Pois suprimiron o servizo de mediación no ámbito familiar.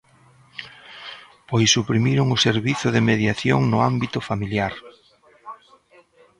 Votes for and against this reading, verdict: 1, 2, rejected